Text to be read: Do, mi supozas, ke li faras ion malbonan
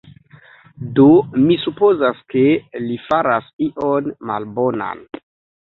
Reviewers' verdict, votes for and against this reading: accepted, 3, 1